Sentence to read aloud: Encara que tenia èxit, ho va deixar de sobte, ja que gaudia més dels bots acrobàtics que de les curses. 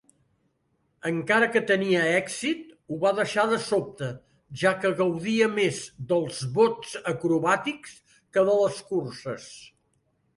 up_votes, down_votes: 3, 0